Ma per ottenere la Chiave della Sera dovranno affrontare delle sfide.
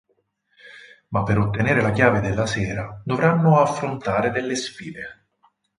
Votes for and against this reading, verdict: 4, 0, accepted